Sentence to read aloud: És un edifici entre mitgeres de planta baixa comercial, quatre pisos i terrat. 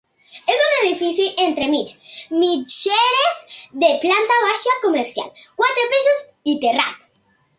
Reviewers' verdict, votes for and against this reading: rejected, 1, 2